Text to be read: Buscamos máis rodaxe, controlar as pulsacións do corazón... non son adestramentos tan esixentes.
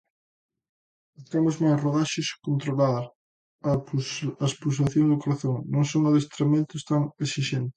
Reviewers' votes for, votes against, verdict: 0, 2, rejected